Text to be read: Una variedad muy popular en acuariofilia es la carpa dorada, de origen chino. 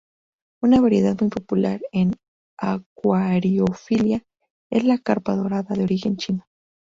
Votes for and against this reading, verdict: 0, 4, rejected